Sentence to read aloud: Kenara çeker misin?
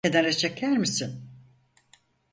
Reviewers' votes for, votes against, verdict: 2, 4, rejected